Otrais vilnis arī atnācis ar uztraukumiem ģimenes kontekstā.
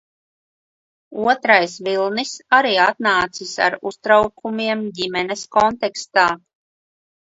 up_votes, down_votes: 2, 0